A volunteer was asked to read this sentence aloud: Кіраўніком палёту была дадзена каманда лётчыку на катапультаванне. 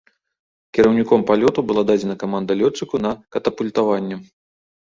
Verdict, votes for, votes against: accepted, 2, 0